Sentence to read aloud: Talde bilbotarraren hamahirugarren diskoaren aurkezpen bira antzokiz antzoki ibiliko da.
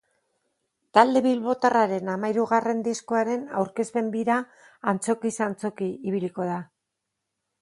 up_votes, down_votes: 6, 0